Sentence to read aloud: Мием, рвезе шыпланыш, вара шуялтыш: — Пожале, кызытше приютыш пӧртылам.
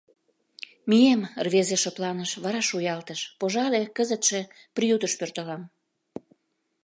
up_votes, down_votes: 2, 0